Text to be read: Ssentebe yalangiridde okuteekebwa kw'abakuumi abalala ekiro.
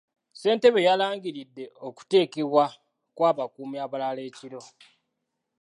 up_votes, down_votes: 2, 0